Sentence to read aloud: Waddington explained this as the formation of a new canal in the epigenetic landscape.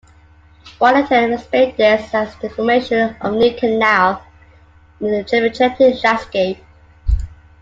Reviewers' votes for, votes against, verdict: 1, 2, rejected